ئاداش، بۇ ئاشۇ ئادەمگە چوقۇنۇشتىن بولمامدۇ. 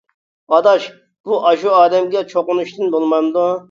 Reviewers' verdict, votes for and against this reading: accepted, 2, 0